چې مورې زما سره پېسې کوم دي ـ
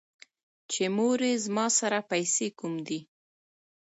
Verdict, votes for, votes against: accepted, 2, 0